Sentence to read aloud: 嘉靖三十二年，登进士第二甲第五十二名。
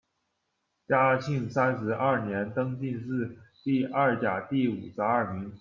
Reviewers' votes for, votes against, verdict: 2, 1, accepted